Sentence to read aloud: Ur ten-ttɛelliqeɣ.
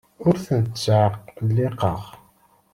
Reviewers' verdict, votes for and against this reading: rejected, 1, 2